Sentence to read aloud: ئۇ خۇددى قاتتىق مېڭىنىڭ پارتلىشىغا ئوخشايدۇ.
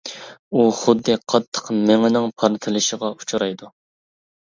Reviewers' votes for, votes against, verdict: 0, 2, rejected